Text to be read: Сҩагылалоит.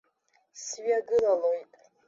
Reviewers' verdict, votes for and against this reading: accepted, 2, 0